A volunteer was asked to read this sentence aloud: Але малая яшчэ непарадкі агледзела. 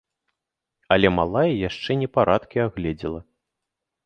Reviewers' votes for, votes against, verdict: 2, 0, accepted